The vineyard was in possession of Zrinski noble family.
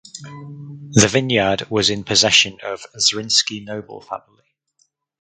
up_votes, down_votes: 2, 2